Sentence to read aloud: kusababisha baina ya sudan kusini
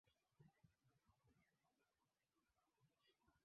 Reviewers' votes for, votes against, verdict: 0, 2, rejected